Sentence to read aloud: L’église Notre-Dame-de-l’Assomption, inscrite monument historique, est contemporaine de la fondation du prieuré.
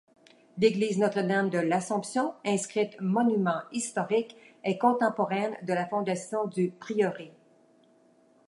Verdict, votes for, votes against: accepted, 2, 0